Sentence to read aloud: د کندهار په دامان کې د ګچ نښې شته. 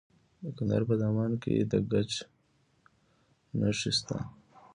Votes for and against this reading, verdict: 2, 0, accepted